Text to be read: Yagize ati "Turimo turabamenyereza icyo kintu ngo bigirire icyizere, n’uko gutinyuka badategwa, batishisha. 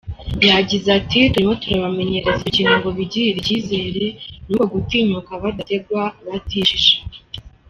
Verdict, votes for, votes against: rejected, 1, 2